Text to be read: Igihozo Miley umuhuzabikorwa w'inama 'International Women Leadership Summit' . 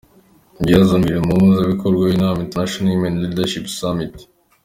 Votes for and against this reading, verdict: 2, 1, accepted